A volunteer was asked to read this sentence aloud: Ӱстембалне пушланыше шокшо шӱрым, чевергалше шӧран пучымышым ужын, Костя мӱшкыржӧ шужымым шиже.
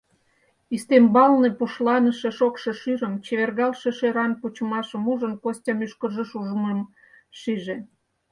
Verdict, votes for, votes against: rejected, 0, 4